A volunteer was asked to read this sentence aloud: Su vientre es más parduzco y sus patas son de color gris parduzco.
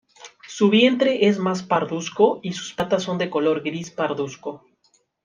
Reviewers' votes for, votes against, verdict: 2, 0, accepted